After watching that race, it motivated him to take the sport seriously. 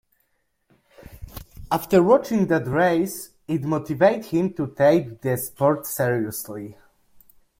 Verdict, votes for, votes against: rejected, 0, 2